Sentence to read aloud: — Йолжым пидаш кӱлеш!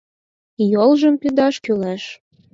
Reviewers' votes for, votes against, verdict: 4, 0, accepted